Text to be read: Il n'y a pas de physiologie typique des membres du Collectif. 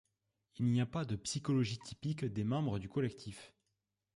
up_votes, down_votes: 0, 2